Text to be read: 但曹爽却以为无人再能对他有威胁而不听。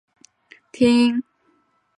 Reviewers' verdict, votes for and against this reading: rejected, 0, 5